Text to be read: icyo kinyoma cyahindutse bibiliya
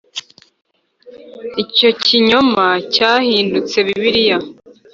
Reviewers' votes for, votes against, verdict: 3, 0, accepted